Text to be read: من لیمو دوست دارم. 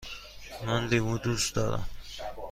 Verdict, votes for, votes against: accepted, 3, 0